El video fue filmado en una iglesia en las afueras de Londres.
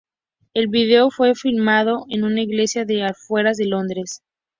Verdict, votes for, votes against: rejected, 2, 2